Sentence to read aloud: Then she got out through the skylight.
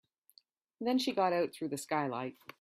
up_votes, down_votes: 3, 0